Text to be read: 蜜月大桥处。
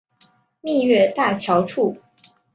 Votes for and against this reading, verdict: 1, 2, rejected